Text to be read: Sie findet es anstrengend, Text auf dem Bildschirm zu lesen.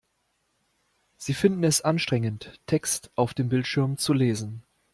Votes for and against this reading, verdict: 0, 2, rejected